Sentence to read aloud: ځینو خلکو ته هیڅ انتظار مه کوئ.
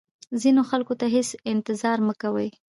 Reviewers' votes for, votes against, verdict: 0, 2, rejected